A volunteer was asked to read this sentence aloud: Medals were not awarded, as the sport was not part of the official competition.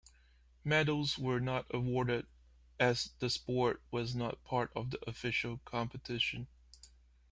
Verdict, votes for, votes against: accepted, 2, 1